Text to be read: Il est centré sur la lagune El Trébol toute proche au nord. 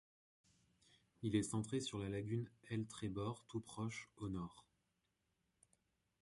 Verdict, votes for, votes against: rejected, 0, 2